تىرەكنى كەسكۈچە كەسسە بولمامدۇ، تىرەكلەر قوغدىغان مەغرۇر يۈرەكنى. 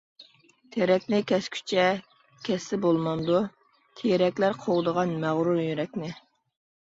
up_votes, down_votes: 2, 0